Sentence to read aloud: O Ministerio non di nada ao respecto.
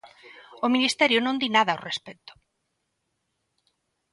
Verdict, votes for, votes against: accepted, 2, 0